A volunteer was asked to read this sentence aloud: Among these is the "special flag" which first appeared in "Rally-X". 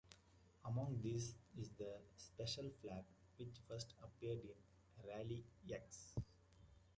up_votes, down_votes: 2, 1